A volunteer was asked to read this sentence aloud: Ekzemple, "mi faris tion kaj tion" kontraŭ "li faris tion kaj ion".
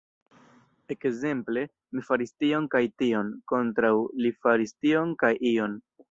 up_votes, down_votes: 1, 2